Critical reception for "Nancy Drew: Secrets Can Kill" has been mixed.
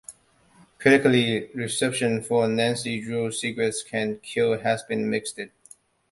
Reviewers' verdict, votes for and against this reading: rejected, 1, 2